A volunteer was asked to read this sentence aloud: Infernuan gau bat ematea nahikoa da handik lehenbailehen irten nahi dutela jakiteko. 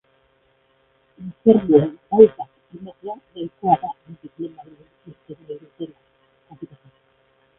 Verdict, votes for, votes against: rejected, 0, 4